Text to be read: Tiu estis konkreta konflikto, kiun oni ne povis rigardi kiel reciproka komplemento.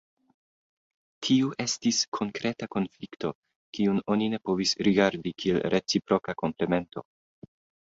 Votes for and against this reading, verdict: 2, 0, accepted